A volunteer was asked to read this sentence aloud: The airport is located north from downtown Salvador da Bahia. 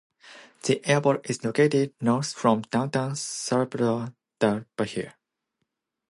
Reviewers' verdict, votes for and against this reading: accepted, 2, 0